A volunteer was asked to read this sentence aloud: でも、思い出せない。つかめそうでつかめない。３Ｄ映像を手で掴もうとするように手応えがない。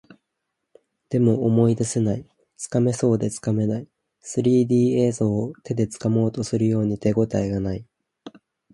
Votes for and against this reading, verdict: 0, 2, rejected